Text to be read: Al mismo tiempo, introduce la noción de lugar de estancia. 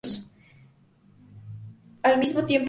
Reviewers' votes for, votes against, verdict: 0, 2, rejected